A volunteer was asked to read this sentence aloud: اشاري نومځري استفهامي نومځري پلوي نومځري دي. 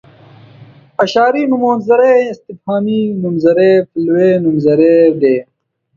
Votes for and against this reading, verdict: 1, 2, rejected